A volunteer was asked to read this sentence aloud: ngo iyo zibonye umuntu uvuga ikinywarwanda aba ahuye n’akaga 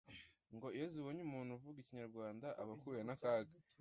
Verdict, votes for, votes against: rejected, 0, 2